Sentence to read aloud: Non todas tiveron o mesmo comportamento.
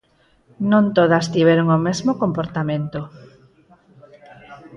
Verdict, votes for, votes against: accepted, 4, 0